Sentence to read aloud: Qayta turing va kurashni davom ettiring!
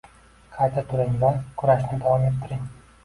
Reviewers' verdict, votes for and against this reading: accepted, 2, 1